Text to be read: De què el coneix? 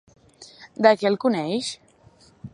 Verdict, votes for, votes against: accepted, 4, 0